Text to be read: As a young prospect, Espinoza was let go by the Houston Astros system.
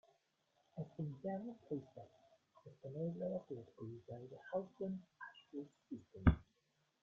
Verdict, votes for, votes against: rejected, 1, 2